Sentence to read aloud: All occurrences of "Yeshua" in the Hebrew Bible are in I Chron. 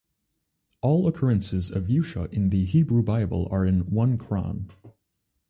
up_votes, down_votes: 0, 4